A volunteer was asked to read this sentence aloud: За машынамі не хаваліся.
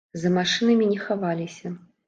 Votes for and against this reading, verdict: 2, 0, accepted